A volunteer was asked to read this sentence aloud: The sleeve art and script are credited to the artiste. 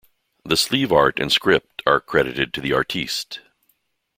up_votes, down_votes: 2, 0